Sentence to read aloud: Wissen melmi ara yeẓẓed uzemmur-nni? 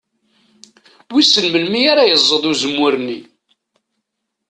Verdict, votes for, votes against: accepted, 2, 0